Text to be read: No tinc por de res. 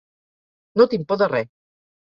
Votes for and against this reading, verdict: 2, 0, accepted